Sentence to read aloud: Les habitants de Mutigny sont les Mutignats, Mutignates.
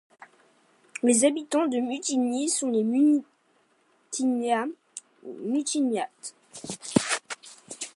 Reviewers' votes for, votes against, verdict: 0, 2, rejected